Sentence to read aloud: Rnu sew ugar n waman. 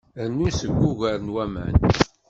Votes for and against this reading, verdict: 1, 2, rejected